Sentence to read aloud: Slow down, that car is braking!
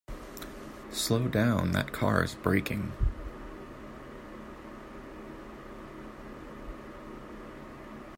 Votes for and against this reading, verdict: 2, 0, accepted